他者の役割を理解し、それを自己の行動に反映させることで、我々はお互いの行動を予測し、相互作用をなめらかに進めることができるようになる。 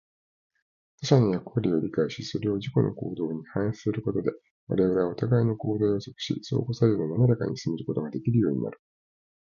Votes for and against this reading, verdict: 0, 2, rejected